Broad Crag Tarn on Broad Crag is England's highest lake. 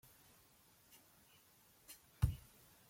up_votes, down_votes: 0, 2